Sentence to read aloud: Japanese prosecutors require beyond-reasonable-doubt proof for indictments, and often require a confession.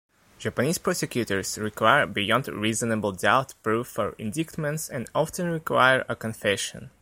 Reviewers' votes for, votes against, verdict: 2, 1, accepted